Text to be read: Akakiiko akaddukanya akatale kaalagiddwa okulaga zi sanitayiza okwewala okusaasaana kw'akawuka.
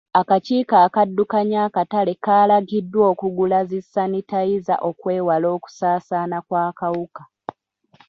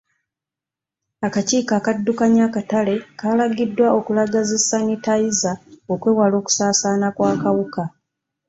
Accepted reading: second